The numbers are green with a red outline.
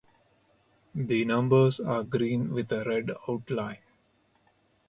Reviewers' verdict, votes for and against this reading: accepted, 2, 0